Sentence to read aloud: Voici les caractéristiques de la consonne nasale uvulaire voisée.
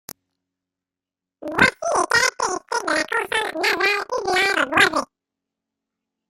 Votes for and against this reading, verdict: 0, 3, rejected